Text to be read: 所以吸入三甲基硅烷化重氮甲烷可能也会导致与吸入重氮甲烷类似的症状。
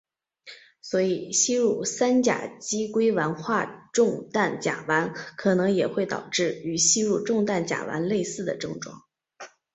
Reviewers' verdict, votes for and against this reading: accepted, 3, 0